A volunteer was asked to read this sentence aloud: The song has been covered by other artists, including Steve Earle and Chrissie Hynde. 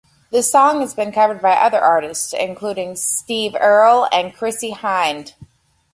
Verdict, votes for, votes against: accepted, 3, 0